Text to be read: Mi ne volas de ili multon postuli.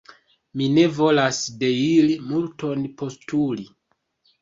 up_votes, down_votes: 0, 2